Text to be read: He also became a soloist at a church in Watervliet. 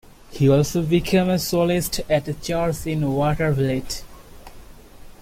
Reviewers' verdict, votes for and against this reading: accepted, 2, 0